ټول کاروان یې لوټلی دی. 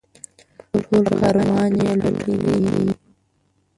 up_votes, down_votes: 1, 2